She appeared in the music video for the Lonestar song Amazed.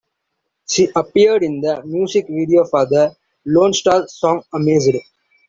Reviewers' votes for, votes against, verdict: 2, 0, accepted